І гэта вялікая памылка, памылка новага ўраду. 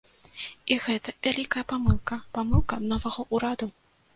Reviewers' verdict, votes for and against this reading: rejected, 1, 2